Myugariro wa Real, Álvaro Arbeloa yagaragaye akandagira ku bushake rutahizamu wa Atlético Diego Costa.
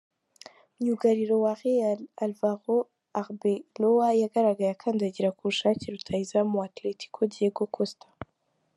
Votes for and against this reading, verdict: 3, 1, accepted